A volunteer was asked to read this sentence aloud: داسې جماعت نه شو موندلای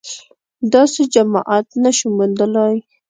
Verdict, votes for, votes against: accepted, 2, 0